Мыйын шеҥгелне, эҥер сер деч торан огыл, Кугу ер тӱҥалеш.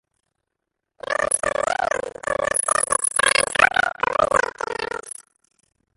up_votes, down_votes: 0, 2